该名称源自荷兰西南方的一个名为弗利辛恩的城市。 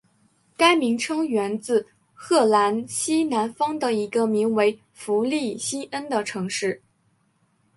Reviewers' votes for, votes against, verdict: 1, 2, rejected